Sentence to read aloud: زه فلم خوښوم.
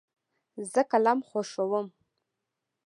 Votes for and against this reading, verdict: 0, 2, rejected